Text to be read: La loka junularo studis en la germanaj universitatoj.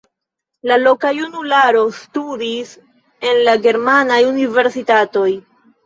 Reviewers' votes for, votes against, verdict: 2, 1, accepted